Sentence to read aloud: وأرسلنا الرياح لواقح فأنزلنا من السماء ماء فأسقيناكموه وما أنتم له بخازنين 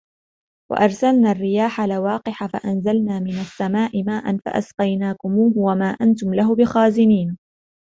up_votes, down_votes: 2, 0